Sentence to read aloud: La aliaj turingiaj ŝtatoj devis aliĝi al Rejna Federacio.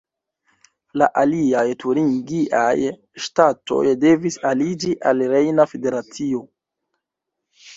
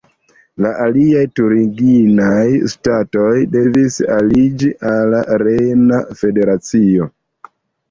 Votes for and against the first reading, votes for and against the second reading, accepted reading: 1, 2, 2, 1, second